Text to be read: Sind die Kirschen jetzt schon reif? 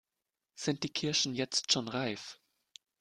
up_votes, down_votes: 2, 0